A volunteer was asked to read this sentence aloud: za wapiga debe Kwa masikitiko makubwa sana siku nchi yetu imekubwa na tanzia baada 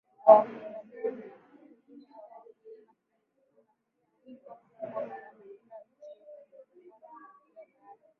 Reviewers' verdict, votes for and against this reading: rejected, 0, 2